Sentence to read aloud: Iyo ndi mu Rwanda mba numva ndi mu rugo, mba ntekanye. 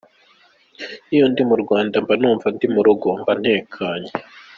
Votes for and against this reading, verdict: 2, 0, accepted